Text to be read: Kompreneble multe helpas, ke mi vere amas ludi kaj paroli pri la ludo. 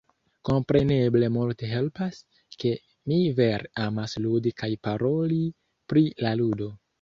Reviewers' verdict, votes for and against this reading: rejected, 0, 2